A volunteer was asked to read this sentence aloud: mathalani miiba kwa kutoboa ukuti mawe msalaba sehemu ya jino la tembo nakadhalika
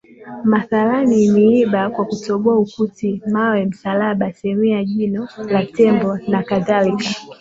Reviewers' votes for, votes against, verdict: 2, 1, accepted